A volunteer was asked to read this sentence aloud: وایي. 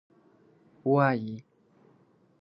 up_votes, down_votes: 11, 0